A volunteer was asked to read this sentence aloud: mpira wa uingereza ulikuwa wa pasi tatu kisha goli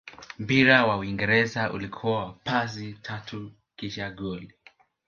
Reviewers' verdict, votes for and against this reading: accepted, 3, 0